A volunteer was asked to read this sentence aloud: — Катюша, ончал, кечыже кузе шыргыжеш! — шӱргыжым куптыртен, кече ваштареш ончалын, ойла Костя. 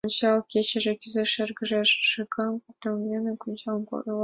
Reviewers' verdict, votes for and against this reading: rejected, 0, 2